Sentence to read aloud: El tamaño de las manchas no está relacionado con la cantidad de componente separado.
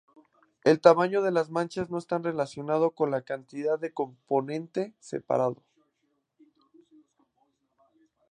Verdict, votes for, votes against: rejected, 0, 2